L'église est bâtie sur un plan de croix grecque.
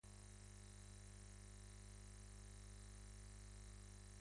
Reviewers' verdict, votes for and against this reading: rejected, 1, 2